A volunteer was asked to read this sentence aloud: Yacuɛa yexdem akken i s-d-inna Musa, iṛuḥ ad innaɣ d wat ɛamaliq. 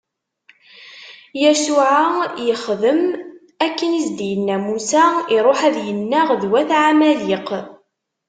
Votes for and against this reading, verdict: 1, 2, rejected